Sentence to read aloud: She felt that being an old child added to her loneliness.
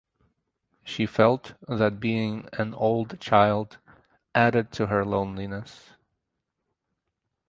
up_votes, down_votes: 4, 0